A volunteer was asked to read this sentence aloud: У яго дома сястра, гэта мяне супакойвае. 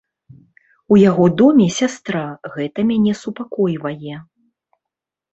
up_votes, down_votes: 0, 2